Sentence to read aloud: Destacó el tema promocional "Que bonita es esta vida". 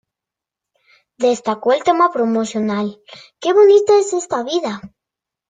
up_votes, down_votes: 2, 0